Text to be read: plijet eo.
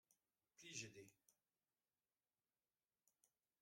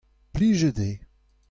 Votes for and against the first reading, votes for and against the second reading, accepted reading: 0, 2, 2, 0, second